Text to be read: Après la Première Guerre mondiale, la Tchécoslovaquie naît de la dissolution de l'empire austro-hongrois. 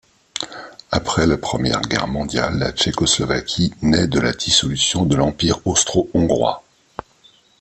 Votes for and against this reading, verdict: 2, 0, accepted